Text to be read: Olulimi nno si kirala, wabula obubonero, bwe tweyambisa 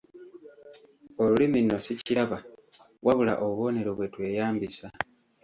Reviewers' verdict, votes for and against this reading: rejected, 0, 2